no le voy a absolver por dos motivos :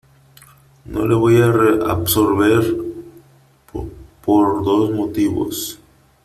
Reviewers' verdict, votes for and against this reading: rejected, 0, 3